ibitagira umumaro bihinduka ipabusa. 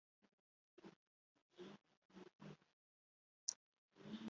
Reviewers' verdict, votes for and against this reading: rejected, 0, 2